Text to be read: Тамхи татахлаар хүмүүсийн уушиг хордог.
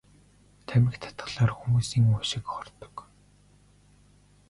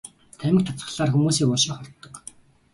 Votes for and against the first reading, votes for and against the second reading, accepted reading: 2, 1, 0, 2, first